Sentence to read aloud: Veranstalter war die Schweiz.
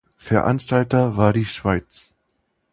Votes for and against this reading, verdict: 2, 0, accepted